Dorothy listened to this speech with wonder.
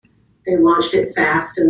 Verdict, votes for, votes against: rejected, 0, 2